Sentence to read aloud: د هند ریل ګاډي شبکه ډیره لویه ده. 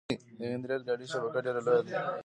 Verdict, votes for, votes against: accepted, 2, 1